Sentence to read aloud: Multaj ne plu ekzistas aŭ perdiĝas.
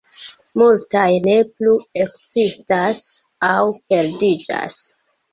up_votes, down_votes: 1, 2